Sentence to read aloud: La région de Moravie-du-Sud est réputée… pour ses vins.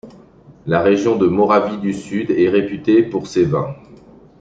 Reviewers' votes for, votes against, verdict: 2, 0, accepted